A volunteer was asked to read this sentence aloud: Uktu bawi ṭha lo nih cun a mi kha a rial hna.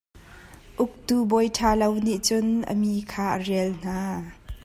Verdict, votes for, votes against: accepted, 2, 0